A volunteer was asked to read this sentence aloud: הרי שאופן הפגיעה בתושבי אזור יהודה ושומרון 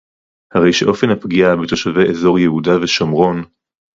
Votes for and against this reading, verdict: 0, 2, rejected